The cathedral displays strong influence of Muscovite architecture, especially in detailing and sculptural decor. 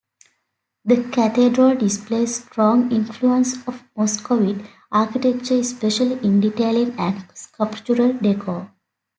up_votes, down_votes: 2, 0